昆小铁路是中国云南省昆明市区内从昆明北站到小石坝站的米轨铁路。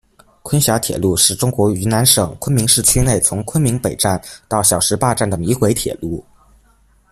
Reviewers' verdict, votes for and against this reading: rejected, 1, 2